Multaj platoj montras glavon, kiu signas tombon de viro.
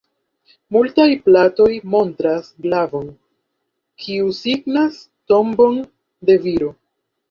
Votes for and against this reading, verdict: 2, 1, accepted